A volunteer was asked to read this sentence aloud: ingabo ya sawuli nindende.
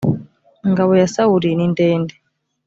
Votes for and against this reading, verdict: 2, 0, accepted